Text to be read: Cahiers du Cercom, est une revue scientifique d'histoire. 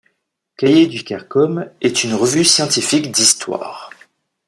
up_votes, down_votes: 1, 2